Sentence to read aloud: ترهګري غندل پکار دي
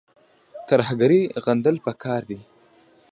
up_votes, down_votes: 0, 2